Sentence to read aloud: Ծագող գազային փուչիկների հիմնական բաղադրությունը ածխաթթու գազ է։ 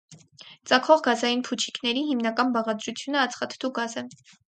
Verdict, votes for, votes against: accepted, 4, 0